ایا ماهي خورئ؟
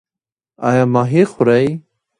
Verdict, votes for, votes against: rejected, 1, 2